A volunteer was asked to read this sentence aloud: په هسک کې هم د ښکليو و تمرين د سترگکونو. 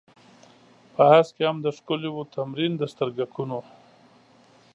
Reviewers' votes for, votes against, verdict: 2, 0, accepted